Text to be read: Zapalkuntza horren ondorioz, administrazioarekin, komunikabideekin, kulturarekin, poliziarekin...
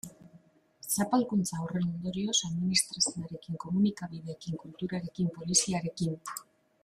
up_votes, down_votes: 1, 2